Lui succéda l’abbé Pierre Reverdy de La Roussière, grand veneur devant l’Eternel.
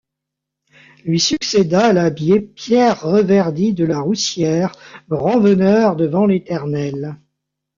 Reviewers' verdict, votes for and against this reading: rejected, 1, 2